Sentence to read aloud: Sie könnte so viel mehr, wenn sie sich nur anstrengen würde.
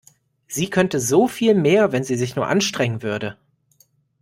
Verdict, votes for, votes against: accepted, 2, 0